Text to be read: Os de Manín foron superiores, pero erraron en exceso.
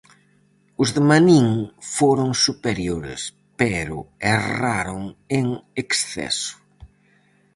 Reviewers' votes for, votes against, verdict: 4, 0, accepted